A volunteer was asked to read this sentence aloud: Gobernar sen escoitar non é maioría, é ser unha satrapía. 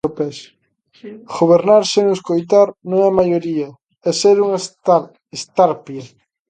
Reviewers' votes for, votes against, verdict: 0, 2, rejected